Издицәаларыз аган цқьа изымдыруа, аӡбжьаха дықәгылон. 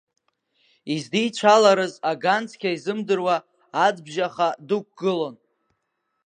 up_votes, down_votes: 1, 2